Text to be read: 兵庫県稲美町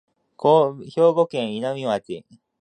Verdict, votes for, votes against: rejected, 0, 2